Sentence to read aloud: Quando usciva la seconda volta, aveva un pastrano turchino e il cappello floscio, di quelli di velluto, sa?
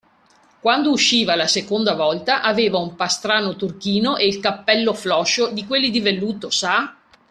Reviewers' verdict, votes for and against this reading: accepted, 2, 0